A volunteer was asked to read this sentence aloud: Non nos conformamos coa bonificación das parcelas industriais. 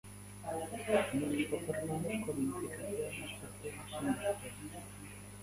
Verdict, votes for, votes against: rejected, 0, 2